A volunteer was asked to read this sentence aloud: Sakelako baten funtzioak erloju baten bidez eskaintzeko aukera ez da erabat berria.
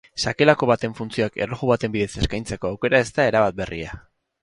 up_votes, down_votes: 4, 0